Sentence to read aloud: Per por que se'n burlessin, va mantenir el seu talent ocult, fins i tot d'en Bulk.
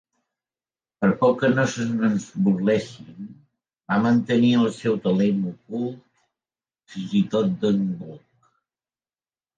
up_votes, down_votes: 0, 3